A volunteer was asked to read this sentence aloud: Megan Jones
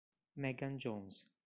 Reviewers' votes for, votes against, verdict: 3, 0, accepted